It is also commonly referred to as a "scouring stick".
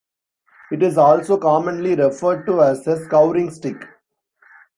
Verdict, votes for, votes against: rejected, 1, 2